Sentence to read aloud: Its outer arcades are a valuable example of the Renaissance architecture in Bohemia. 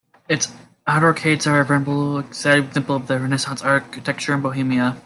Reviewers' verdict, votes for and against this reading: rejected, 1, 2